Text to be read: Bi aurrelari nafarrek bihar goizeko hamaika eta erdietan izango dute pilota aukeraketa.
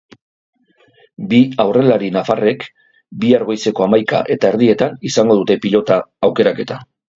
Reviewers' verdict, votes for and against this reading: accepted, 2, 0